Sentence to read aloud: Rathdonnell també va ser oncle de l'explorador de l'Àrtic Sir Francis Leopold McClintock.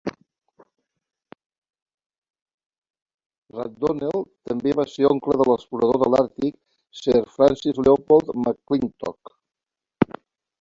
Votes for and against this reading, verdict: 0, 2, rejected